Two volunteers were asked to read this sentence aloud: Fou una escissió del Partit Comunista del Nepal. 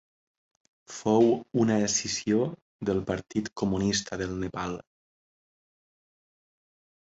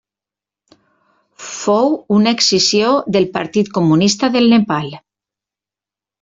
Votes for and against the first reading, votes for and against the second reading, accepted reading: 4, 0, 0, 2, first